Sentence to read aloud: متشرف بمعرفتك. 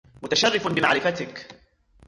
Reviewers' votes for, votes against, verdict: 0, 2, rejected